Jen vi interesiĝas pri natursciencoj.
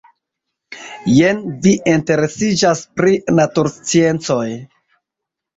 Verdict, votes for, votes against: rejected, 0, 2